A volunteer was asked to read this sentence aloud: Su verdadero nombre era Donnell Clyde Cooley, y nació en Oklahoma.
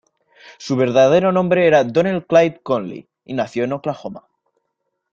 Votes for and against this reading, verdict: 2, 0, accepted